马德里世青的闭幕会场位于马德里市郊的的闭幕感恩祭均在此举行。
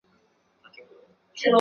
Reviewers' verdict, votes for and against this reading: rejected, 0, 2